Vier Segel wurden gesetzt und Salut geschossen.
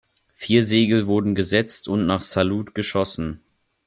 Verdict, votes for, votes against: rejected, 0, 2